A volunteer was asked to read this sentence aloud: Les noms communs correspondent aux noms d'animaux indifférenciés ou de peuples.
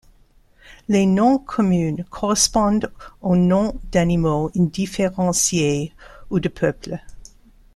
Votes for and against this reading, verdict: 0, 2, rejected